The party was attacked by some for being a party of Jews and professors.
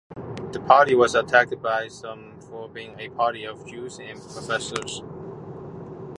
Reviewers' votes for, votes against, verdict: 2, 0, accepted